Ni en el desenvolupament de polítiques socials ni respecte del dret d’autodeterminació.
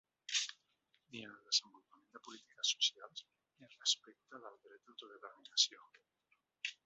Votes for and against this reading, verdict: 1, 2, rejected